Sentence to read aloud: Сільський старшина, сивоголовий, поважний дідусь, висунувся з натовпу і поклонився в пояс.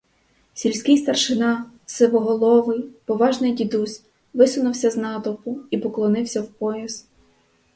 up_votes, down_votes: 4, 0